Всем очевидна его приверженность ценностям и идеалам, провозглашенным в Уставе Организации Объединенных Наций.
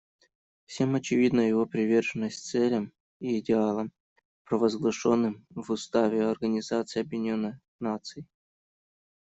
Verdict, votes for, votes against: rejected, 1, 2